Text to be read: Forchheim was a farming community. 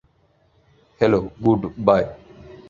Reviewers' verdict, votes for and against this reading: rejected, 0, 2